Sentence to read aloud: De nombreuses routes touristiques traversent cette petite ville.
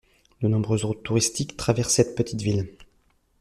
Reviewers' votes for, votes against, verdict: 1, 2, rejected